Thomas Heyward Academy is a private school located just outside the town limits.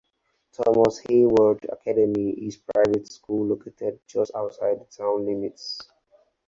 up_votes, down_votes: 0, 4